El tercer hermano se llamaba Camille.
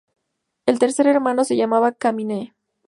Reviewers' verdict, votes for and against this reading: rejected, 0, 2